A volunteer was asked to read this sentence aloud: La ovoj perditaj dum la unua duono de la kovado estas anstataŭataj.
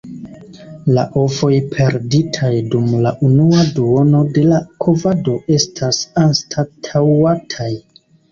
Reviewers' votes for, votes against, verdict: 2, 1, accepted